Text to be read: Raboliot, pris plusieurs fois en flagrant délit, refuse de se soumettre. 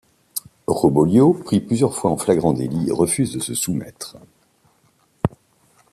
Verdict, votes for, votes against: rejected, 0, 2